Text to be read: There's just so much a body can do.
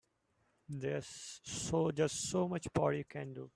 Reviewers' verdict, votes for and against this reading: rejected, 0, 2